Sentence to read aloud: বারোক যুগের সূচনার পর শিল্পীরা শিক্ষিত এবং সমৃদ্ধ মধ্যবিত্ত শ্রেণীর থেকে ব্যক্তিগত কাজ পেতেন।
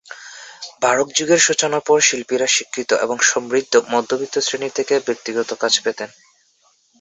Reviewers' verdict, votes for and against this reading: accepted, 4, 0